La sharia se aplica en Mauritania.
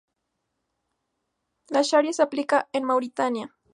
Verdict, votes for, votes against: accepted, 2, 0